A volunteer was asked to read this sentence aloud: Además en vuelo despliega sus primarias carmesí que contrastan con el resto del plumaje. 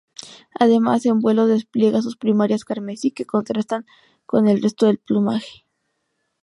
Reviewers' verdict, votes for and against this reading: rejected, 0, 2